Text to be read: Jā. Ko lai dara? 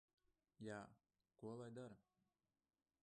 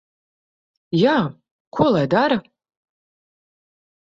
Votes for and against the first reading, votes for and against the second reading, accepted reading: 1, 2, 2, 0, second